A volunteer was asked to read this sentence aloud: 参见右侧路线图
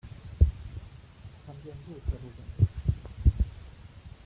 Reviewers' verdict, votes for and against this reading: rejected, 0, 2